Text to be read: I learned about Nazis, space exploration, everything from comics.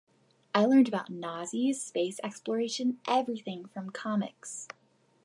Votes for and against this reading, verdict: 2, 0, accepted